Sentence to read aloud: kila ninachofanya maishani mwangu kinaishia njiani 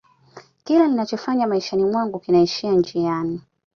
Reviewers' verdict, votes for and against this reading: accepted, 2, 1